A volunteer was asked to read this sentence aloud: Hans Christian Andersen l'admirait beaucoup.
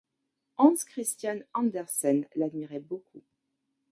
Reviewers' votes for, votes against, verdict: 2, 0, accepted